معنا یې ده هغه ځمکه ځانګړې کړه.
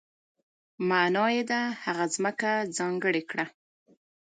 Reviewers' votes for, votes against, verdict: 2, 0, accepted